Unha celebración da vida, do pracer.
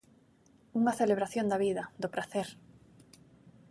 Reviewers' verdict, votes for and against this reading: accepted, 3, 0